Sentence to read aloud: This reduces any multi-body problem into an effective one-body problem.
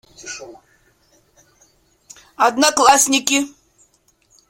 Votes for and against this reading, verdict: 0, 2, rejected